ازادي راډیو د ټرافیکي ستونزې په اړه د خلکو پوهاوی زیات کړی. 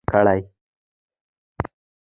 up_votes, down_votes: 1, 2